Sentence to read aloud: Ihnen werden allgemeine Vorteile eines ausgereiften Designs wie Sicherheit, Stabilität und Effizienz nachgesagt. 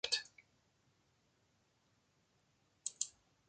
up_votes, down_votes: 0, 2